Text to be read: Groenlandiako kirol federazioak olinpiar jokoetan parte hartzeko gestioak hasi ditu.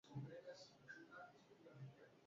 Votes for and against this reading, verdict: 0, 4, rejected